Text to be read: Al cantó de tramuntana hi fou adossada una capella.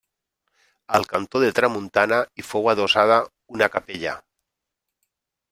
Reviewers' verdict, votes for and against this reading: rejected, 1, 2